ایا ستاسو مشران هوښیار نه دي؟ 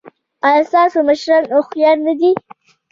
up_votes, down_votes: 2, 0